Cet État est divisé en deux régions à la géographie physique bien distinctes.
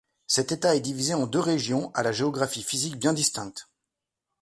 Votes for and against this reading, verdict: 2, 0, accepted